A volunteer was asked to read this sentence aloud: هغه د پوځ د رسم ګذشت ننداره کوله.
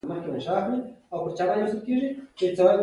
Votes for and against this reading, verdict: 1, 2, rejected